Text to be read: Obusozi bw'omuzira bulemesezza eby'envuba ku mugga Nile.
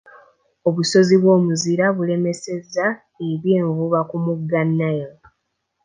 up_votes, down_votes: 2, 0